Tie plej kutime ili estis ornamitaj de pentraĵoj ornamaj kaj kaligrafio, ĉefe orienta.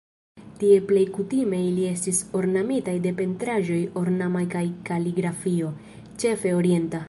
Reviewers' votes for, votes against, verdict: 0, 2, rejected